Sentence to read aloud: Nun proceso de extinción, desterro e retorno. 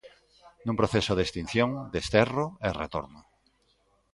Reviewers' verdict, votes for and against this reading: accepted, 2, 0